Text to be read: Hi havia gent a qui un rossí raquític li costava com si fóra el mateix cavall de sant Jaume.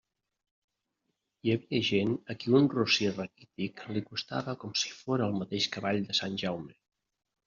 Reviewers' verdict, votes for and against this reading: rejected, 1, 2